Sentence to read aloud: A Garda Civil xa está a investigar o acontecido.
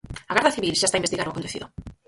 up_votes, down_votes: 0, 4